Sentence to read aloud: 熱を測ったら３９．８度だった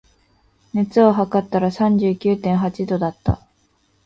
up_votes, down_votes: 0, 2